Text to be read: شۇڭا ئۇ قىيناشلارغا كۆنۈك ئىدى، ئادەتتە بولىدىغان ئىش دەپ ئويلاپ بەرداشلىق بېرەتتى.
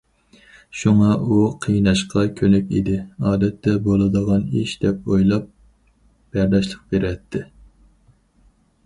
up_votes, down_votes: 2, 2